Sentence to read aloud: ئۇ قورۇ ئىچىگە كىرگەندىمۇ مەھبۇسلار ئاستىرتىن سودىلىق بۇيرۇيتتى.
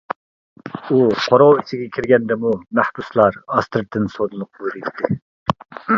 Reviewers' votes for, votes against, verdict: 0, 2, rejected